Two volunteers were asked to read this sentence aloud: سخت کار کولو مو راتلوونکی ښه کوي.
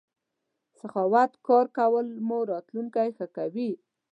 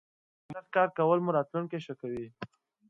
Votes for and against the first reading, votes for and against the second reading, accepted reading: 1, 2, 2, 0, second